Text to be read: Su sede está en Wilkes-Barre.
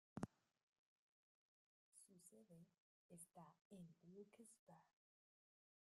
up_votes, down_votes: 0, 2